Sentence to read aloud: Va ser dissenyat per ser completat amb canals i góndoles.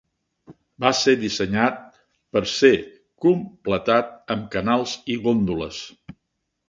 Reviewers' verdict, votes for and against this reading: accepted, 2, 0